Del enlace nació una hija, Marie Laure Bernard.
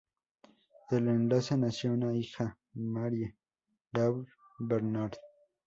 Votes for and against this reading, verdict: 0, 2, rejected